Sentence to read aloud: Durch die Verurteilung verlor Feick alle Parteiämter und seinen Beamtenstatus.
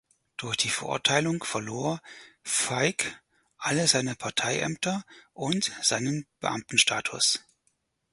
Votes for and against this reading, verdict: 0, 4, rejected